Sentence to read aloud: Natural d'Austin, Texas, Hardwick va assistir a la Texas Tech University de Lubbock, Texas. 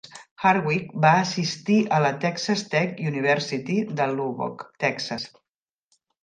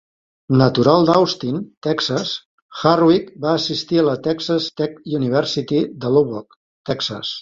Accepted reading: second